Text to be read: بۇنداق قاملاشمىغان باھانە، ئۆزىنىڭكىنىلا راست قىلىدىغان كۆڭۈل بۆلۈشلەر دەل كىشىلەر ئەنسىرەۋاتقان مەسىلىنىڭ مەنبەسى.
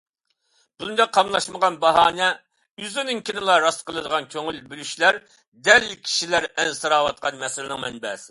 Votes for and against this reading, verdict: 2, 0, accepted